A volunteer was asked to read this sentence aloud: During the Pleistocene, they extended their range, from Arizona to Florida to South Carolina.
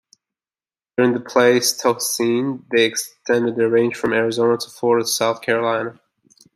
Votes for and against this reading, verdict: 0, 2, rejected